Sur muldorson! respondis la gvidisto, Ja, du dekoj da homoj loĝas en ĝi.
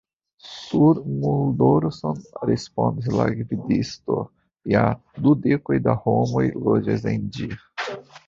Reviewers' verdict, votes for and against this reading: rejected, 1, 2